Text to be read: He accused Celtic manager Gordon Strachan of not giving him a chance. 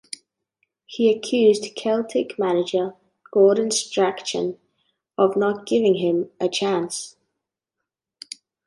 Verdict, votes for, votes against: accepted, 2, 0